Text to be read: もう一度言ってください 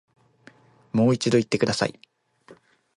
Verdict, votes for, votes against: rejected, 1, 2